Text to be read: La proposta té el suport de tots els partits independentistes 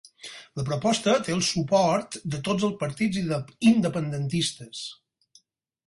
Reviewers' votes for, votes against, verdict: 0, 4, rejected